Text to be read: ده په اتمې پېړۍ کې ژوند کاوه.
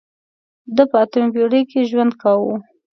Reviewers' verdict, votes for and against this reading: accepted, 2, 0